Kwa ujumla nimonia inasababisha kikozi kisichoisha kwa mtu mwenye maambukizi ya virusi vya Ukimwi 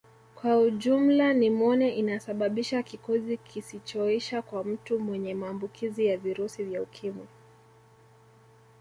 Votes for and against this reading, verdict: 2, 1, accepted